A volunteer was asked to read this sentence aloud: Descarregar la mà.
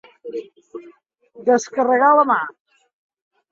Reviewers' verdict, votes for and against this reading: accepted, 2, 0